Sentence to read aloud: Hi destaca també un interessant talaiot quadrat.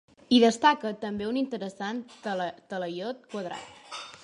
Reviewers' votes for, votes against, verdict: 0, 3, rejected